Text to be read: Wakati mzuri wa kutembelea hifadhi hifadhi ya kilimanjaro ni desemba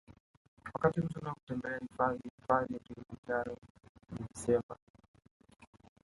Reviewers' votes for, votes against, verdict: 2, 0, accepted